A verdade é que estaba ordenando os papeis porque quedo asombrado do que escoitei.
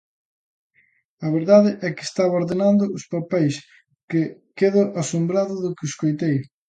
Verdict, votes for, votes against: rejected, 0, 2